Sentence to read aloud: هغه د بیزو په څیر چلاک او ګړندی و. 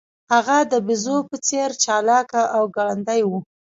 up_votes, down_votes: 2, 0